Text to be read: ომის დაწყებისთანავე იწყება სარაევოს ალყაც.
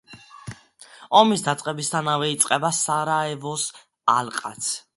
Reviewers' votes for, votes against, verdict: 2, 1, accepted